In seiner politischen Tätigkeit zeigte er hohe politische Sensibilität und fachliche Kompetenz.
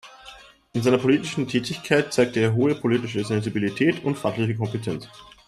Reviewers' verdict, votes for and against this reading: accepted, 2, 0